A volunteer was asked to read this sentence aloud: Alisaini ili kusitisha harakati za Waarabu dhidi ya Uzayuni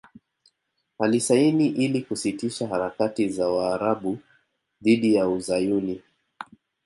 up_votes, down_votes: 2, 0